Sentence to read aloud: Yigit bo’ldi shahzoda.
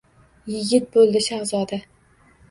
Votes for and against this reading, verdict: 1, 2, rejected